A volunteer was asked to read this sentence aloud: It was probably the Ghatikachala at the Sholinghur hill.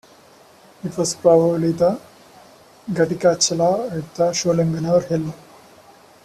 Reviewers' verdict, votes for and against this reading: rejected, 1, 2